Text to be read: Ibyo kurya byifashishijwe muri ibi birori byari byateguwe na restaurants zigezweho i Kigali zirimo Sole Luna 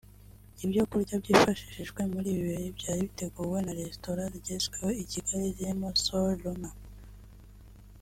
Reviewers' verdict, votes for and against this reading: rejected, 1, 2